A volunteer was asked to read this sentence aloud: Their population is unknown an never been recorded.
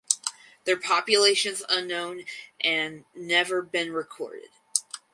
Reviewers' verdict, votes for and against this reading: accepted, 2, 0